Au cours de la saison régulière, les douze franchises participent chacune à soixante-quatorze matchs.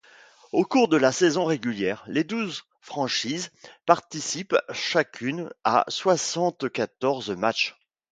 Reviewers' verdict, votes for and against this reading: rejected, 1, 2